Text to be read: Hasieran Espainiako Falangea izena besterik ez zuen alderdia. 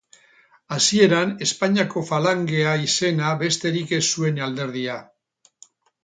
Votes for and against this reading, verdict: 2, 2, rejected